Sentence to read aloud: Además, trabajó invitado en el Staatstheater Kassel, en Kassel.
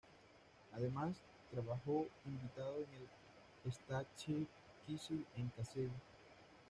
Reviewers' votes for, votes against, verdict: 1, 2, rejected